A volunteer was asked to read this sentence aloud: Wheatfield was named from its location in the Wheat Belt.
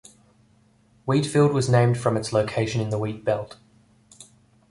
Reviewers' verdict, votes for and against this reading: accepted, 2, 0